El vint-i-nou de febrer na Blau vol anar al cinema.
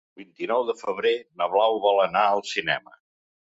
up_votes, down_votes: 0, 2